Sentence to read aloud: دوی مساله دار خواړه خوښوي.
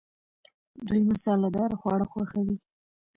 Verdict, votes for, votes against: rejected, 1, 2